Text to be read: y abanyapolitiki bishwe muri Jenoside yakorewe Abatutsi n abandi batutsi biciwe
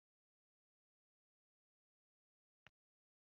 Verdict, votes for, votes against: rejected, 0, 2